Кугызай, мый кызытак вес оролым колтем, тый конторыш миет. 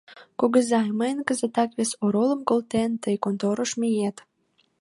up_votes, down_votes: 1, 2